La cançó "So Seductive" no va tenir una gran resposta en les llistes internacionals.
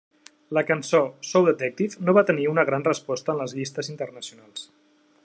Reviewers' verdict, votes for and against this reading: rejected, 1, 2